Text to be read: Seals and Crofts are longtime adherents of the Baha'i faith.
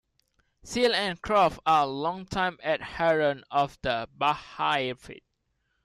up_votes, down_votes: 0, 2